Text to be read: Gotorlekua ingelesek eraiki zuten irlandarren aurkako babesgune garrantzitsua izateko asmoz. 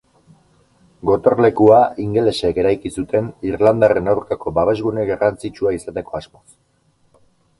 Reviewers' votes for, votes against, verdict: 4, 0, accepted